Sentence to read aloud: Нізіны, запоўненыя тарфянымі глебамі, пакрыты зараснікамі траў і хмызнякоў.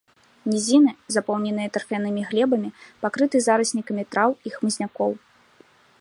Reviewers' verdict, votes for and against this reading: accepted, 2, 0